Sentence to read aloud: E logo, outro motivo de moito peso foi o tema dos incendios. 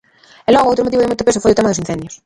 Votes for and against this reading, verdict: 0, 2, rejected